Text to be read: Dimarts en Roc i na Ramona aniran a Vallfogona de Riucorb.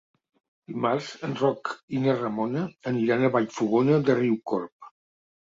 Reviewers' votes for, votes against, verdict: 3, 0, accepted